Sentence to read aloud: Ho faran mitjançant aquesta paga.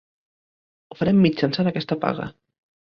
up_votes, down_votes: 0, 2